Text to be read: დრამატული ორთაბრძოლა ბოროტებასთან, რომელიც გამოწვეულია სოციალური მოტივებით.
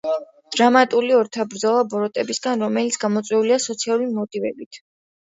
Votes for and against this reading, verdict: 2, 1, accepted